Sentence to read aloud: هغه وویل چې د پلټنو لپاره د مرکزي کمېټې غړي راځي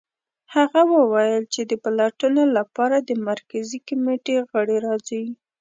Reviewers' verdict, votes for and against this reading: accepted, 2, 1